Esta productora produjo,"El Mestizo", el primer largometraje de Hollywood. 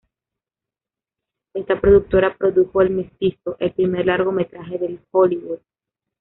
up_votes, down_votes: 1, 2